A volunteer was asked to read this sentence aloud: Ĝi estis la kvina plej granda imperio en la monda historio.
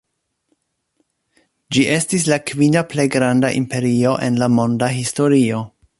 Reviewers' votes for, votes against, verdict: 2, 0, accepted